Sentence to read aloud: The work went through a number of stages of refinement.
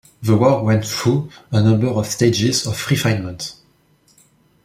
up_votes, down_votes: 2, 0